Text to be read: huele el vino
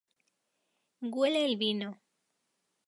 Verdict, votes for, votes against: rejected, 2, 2